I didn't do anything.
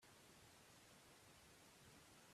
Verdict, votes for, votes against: rejected, 0, 2